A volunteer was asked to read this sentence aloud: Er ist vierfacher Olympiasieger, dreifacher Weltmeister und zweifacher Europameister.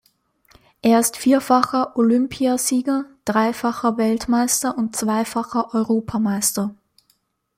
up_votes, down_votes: 2, 0